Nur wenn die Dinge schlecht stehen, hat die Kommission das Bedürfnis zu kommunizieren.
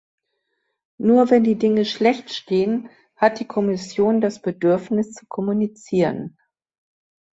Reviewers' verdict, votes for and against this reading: accepted, 2, 0